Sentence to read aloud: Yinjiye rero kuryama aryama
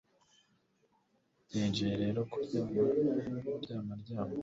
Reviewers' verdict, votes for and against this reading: accepted, 2, 0